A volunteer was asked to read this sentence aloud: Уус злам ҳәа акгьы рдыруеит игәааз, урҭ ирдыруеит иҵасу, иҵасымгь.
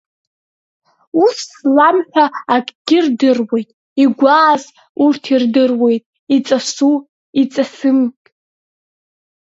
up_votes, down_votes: 0, 3